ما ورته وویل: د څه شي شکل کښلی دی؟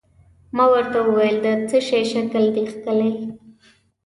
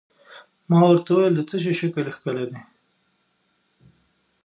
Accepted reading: second